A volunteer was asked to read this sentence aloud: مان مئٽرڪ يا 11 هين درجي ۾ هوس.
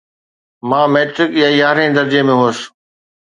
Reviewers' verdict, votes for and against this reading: rejected, 0, 2